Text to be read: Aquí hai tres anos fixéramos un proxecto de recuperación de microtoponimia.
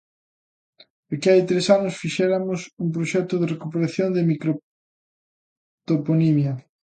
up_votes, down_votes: 1, 2